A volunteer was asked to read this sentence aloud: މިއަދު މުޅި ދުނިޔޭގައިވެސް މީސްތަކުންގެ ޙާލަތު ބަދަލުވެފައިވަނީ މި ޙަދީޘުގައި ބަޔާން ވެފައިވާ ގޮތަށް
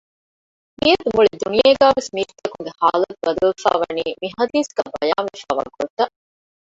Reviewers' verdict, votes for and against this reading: rejected, 1, 2